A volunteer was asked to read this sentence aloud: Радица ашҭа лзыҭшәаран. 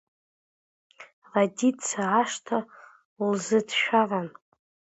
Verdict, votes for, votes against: accepted, 2, 1